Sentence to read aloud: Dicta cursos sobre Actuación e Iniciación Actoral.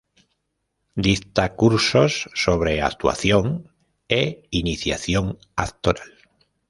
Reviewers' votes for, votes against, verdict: 2, 0, accepted